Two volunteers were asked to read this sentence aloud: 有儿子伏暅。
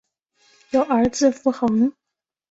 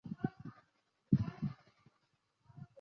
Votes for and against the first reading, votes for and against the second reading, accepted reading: 2, 0, 0, 6, first